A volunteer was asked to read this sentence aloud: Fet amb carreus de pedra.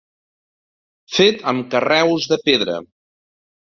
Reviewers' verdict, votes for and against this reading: rejected, 1, 2